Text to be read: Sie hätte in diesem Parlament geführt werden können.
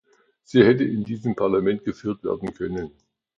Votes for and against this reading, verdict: 2, 0, accepted